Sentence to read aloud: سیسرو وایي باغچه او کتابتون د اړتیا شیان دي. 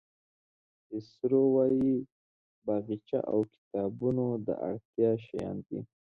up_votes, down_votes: 1, 2